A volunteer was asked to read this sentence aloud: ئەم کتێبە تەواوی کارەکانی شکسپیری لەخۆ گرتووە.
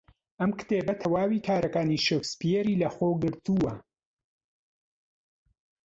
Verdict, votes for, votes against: accepted, 2, 1